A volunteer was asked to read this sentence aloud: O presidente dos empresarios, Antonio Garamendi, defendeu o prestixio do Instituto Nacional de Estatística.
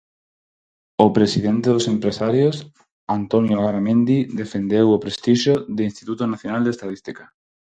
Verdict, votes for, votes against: rejected, 0, 6